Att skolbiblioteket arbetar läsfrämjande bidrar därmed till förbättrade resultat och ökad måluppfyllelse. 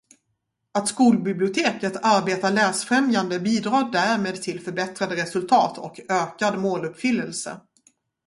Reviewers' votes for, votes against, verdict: 2, 0, accepted